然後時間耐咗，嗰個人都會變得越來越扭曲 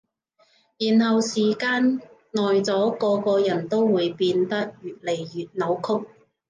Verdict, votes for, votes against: rejected, 0, 2